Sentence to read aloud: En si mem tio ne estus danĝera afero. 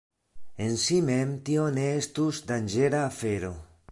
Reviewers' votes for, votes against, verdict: 2, 1, accepted